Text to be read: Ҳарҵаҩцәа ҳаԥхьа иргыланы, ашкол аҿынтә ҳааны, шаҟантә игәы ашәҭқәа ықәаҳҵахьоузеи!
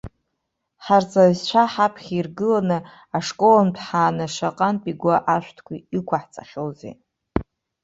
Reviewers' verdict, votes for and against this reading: rejected, 0, 2